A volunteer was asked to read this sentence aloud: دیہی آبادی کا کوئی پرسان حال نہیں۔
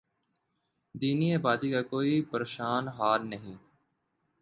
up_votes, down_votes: 2, 0